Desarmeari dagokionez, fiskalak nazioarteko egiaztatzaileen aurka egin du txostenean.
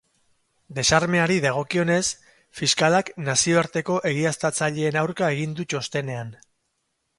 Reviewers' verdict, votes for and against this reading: accepted, 4, 0